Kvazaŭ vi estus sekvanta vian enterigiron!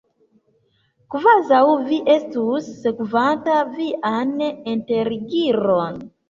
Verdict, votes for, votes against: accepted, 2, 1